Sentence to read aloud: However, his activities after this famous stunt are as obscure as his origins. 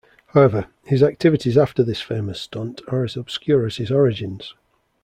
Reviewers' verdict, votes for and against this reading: accepted, 2, 0